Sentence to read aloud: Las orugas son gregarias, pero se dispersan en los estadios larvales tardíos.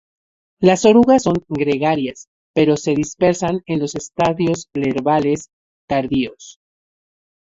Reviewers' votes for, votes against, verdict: 0, 4, rejected